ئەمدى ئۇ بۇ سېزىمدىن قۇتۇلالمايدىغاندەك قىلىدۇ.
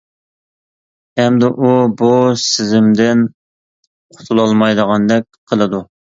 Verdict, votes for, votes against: accepted, 2, 0